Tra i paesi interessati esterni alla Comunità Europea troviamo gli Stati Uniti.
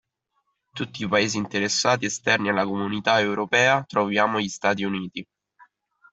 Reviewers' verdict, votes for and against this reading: rejected, 1, 2